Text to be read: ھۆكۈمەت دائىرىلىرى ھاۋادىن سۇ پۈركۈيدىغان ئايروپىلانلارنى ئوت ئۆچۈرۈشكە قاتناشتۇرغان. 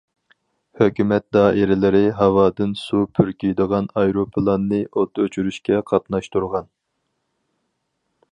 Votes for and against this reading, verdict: 0, 4, rejected